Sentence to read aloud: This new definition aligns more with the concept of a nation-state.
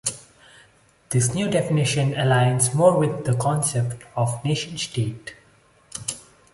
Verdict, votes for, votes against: rejected, 0, 2